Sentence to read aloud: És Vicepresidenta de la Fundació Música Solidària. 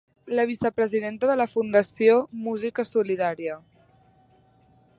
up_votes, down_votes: 0, 3